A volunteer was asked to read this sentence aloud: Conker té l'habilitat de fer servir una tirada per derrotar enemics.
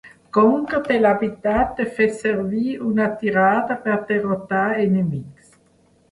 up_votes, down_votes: 1, 2